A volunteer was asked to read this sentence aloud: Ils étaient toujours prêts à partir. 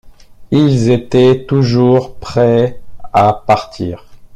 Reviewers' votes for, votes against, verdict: 1, 2, rejected